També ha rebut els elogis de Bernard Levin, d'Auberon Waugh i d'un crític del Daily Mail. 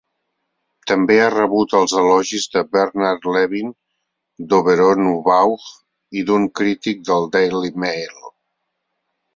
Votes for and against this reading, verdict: 2, 0, accepted